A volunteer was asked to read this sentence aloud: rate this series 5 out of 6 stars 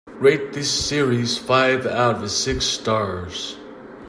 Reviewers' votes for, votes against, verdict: 0, 2, rejected